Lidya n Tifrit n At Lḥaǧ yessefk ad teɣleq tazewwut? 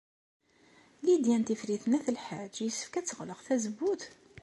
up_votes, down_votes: 2, 0